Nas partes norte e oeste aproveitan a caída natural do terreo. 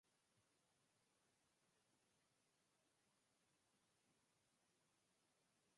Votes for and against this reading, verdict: 2, 4, rejected